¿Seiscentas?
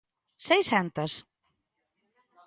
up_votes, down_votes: 2, 0